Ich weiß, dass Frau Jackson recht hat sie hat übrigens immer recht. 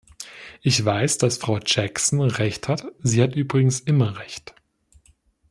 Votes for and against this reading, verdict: 2, 0, accepted